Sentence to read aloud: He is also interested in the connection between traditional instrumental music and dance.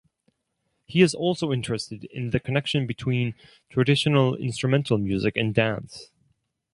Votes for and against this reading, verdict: 4, 0, accepted